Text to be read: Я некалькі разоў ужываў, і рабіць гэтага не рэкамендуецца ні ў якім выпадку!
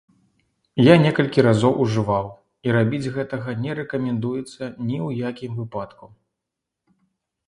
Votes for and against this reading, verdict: 3, 0, accepted